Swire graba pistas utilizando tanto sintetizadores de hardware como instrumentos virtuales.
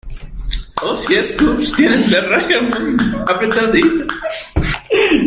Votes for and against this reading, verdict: 0, 2, rejected